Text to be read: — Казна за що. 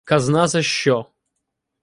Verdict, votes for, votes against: rejected, 0, 2